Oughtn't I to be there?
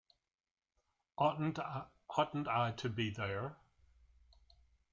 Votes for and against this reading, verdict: 0, 2, rejected